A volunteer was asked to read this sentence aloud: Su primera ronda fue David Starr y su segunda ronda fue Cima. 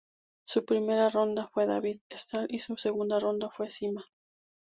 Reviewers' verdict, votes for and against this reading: accepted, 2, 0